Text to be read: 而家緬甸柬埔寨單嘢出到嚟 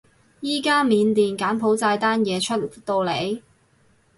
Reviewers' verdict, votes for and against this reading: rejected, 2, 2